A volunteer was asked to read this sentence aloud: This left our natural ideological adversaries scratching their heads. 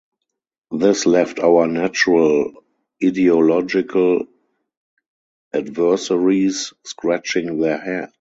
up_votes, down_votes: 0, 4